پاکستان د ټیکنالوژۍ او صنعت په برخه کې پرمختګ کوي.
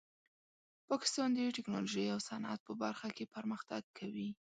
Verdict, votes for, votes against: accepted, 2, 0